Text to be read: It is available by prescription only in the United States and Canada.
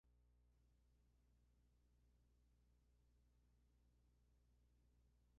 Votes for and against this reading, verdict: 0, 2, rejected